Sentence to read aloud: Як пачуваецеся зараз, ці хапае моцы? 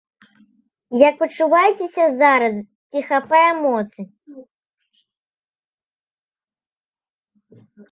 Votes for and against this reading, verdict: 2, 1, accepted